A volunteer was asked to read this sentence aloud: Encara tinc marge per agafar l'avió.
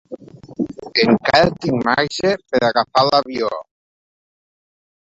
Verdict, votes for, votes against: rejected, 1, 2